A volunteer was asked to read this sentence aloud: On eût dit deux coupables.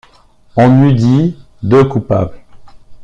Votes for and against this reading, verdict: 2, 0, accepted